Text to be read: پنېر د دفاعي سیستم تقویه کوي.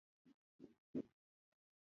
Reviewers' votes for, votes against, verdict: 1, 2, rejected